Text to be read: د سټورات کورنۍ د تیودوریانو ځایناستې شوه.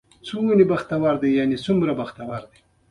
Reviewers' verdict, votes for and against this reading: rejected, 0, 2